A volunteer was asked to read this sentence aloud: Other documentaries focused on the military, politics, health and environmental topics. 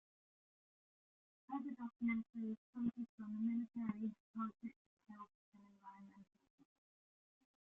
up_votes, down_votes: 0, 2